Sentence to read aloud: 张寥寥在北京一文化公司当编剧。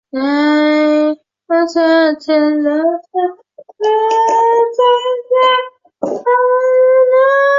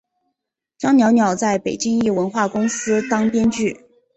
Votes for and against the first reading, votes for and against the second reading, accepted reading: 1, 4, 2, 1, second